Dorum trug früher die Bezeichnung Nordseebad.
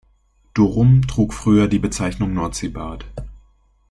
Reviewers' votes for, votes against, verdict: 2, 1, accepted